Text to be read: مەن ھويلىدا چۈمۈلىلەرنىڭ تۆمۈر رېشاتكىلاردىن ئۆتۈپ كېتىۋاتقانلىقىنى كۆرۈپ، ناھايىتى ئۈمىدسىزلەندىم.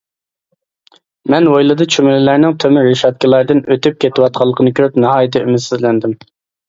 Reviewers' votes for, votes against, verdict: 2, 0, accepted